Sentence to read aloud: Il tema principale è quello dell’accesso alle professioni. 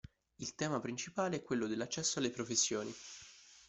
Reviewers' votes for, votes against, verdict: 2, 0, accepted